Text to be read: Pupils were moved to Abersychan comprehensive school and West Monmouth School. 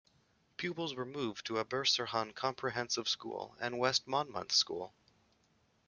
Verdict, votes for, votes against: rejected, 1, 2